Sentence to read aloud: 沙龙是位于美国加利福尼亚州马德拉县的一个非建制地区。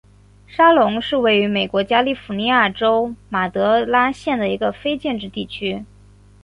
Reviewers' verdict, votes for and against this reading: accepted, 4, 1